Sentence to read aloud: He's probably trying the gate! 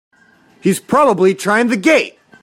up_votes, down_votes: 2, 0